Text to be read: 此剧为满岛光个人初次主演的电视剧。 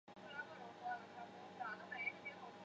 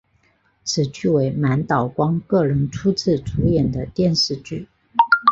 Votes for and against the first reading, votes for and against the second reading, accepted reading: 1, 2, 6, 0, second